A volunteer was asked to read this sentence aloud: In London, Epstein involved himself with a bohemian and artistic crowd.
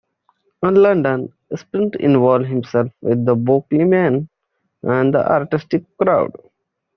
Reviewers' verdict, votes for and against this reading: rejected, 0, 2